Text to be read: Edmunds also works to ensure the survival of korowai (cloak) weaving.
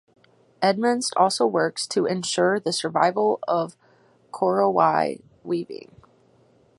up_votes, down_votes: 2, 4